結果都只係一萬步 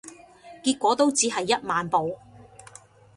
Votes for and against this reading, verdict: 2, 0, accepted